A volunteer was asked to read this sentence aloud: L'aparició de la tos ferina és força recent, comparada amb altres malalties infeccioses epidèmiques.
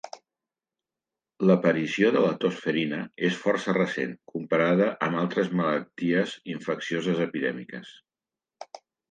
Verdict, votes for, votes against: accepted, 2, 0